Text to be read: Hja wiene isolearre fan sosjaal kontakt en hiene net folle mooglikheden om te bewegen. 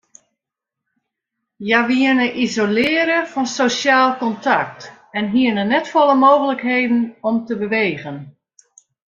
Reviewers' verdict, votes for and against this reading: rejected, 1, 2